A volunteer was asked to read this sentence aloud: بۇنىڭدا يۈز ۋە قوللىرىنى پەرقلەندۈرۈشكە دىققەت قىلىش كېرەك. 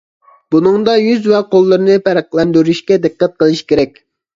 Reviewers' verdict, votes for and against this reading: accepted, 2, 0